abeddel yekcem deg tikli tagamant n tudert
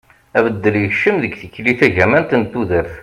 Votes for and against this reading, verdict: 2, 0, accepted